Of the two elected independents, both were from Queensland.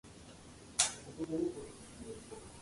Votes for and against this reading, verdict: 0, 2, rejected